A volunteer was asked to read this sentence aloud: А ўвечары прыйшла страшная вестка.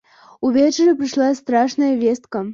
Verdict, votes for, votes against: rejected, 0, 2